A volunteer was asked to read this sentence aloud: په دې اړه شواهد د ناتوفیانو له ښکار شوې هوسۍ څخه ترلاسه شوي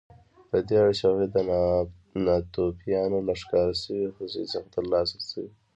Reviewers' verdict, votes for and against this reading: rejected, 1, 2